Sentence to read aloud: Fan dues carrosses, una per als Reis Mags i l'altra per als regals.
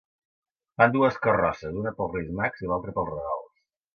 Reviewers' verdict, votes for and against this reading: accepted, 2, 1